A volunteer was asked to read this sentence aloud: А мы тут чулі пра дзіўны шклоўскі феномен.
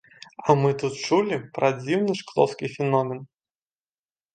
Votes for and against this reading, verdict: 2, 0, accepted